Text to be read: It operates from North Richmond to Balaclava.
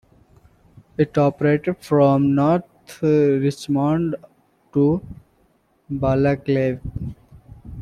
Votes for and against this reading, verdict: 1, 2, rejected